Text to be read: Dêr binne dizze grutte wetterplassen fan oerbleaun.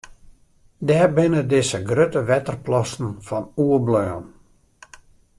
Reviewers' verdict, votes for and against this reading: accepted, 2, 0